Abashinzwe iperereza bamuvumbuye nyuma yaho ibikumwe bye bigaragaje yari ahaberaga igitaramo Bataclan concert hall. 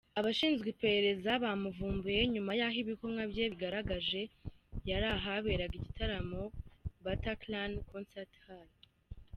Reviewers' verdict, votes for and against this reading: accepted, 2, 0